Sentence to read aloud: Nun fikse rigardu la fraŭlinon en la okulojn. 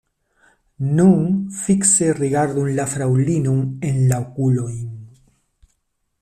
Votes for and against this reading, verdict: 2, 0, accepted